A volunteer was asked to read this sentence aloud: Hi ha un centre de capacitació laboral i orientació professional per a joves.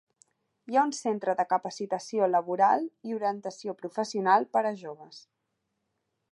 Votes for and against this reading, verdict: 3, 0, accepted